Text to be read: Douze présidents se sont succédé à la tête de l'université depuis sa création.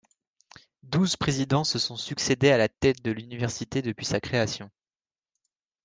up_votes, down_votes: 2, 0